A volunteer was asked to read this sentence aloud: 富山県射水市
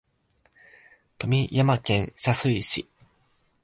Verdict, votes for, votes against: rejected, 0, 2